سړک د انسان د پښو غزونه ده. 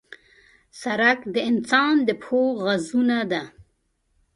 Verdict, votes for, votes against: rejected, 1, 2